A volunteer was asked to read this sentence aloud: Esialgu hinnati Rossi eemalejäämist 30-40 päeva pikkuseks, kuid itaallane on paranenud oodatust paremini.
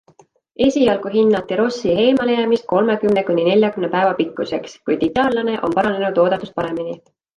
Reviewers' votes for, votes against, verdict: 0, 2, rejected